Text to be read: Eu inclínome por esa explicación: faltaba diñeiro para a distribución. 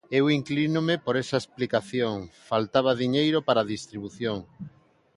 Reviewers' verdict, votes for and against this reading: accepted, 2, 0